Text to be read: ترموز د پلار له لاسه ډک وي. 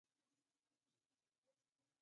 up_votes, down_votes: 0, 2